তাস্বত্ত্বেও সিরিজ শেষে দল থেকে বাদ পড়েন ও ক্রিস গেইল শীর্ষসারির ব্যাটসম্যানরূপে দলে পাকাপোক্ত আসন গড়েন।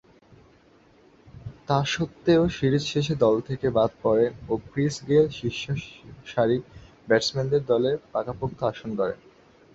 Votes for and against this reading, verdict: 0, 3, rejected